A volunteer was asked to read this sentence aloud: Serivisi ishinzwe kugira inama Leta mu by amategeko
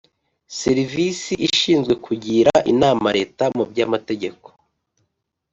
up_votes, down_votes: 3, 0